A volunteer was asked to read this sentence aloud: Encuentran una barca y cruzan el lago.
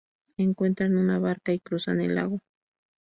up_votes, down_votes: 0, 2